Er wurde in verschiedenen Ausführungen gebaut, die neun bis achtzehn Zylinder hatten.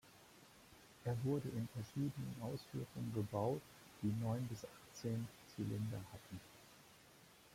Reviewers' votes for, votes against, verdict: 0, 2, rejected